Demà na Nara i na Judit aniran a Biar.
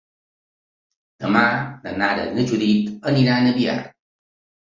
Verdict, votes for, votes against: accepted, 2, 0